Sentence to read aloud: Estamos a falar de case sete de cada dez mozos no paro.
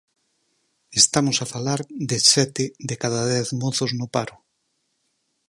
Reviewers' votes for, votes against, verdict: 2, 4, rejected